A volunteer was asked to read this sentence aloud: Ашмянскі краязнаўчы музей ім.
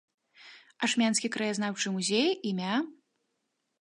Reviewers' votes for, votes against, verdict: 1, 2, rejected